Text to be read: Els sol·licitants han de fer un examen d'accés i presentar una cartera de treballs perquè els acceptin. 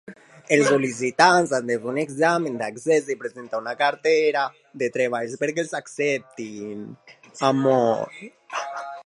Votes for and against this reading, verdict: 0, 2, rejected